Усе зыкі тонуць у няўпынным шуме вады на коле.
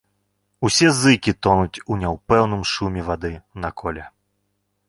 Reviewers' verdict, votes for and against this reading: accepted, 2, 1